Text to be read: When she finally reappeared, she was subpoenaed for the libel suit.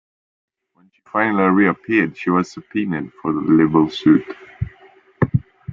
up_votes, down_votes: 0, 2